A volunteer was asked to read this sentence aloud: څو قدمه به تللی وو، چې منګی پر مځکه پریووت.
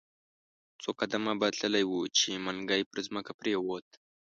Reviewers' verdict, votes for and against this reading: accepted, 2, 0